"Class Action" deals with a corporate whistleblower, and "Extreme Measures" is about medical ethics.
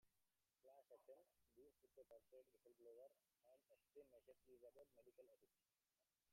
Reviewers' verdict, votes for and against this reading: rejected, 0, 2